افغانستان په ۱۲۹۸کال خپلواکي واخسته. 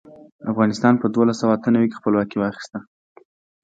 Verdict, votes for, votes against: rejected, 0, 2